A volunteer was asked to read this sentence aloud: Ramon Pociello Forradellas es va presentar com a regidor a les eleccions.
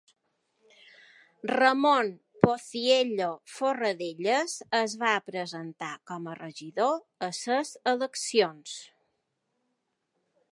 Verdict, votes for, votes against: rejected, 1, 2